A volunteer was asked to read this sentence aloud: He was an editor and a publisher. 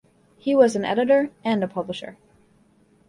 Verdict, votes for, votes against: accepted, 2, 0